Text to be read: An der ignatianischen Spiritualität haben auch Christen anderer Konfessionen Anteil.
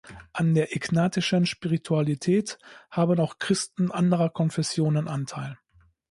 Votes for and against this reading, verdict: 0, 2, rejected